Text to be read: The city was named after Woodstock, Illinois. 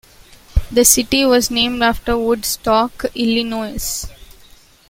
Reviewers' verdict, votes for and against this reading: accepted, 2, 1